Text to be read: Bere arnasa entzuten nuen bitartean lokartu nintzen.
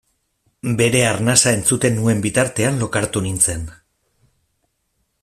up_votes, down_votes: 2, 0